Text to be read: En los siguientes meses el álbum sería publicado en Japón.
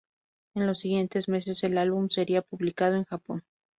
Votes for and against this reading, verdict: 2, 0, accepted